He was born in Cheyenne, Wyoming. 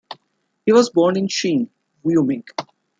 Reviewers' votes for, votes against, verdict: 0, 2, rejected